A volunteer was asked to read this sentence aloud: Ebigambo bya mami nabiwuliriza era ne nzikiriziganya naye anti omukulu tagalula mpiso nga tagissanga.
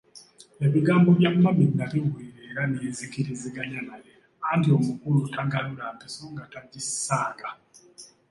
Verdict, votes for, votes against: accepted, 2, 1